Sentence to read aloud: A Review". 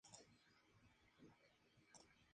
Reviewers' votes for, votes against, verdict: 0, 2, rejected